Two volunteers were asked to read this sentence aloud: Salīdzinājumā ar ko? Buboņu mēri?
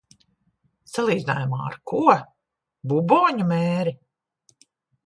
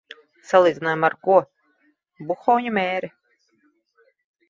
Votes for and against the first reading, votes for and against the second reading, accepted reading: 2, 0, 1, 2, first